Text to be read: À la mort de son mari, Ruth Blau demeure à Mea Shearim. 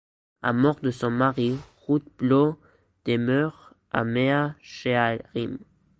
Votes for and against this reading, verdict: 1, 2, rejected